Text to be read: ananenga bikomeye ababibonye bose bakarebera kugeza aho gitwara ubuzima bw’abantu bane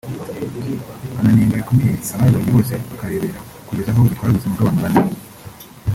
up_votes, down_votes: 0, 2